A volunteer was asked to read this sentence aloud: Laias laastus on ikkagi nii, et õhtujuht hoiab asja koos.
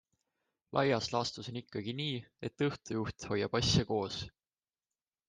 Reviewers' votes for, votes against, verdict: 2, 0, accepted